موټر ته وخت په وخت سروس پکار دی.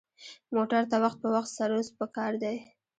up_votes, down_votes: 0, 2